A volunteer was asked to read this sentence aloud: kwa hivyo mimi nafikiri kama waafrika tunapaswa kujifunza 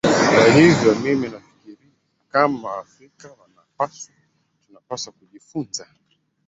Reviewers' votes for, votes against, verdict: 0, 2, rejected